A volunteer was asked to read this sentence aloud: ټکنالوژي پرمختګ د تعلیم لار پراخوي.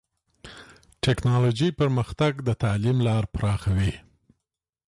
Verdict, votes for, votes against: accepted, 2, 0